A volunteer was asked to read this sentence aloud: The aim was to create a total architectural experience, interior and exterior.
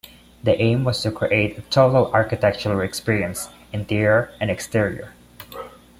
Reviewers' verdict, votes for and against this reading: accepted, 2, 0